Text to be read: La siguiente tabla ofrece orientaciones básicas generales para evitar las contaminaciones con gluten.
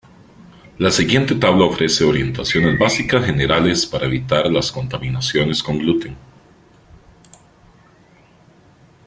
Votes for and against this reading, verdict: 2, 0, accepted